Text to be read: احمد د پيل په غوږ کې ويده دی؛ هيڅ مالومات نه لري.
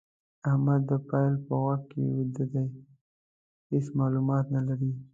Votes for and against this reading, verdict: 0, 2, rejected